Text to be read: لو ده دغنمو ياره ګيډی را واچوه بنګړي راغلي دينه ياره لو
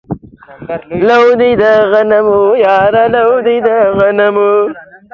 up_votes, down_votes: 0, 2